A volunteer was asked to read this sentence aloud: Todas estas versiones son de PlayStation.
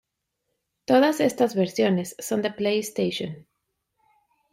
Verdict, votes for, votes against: accepted, 2, 0